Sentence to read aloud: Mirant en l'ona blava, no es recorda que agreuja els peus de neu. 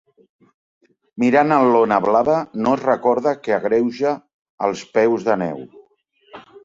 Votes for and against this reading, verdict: 2, 0, accepted